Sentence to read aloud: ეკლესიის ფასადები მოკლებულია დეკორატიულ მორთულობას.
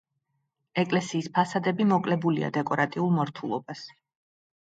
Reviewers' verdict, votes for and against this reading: accepted, 2, 0